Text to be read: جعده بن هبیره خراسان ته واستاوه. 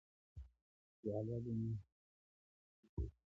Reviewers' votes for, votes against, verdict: 1, 2, rejected